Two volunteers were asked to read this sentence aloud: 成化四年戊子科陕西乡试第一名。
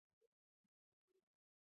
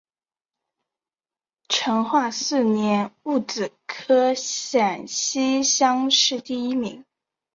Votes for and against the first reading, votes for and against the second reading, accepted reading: 0, 2, 2, 0, second